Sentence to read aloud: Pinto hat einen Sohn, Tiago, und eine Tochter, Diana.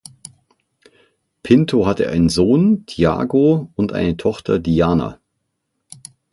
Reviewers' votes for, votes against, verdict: 3, 6, rejected